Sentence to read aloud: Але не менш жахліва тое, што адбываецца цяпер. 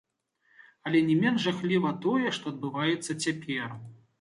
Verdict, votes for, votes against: rejected, 1, 2